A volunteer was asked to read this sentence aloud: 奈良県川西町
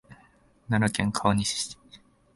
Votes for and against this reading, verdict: 0, 2, rejected